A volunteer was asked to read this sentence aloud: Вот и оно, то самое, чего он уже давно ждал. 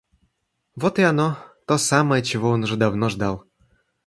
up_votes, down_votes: 2, 0